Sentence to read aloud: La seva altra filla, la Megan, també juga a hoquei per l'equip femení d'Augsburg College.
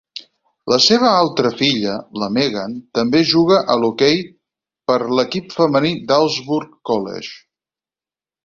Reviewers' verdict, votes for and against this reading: rejected, 0, 4